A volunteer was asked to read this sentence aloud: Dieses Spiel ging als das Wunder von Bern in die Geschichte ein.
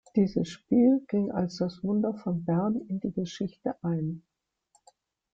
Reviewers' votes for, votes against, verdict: 2, 0, accepted